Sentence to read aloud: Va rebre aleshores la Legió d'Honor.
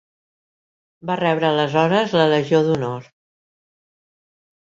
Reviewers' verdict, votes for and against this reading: accepted, 2, 0